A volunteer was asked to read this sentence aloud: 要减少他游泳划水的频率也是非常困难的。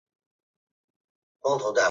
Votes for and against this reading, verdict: 0, 2, rejected